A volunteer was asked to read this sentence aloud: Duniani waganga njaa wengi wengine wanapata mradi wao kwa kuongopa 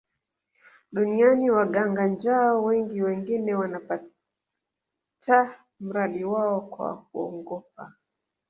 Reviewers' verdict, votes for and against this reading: rejected, 1, 2